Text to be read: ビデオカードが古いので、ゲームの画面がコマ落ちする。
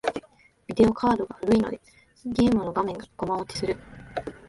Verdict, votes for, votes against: accepted, 2, 1